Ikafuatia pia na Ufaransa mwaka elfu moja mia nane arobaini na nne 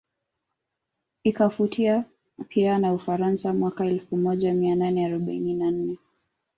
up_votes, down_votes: 3, 0